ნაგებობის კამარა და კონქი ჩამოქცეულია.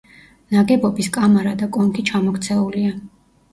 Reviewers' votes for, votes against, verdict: 2, 0, accepted